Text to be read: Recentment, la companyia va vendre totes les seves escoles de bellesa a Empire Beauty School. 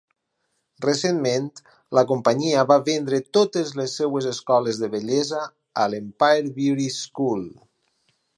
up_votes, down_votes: 0, 4